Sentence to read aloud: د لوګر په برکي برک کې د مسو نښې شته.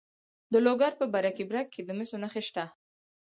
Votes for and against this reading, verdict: 2, 4, rejected